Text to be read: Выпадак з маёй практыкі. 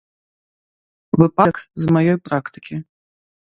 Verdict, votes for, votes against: rejected, 0, 2